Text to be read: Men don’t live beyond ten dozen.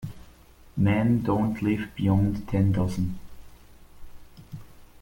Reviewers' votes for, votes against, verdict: 2, 0, accepted